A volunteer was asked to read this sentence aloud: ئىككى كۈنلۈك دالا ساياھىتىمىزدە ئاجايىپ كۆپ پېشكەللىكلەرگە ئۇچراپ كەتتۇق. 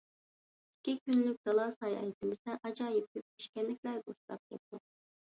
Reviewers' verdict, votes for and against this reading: rejected, 1, 2